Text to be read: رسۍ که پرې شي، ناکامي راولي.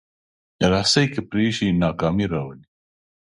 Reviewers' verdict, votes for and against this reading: accepted, 2, 1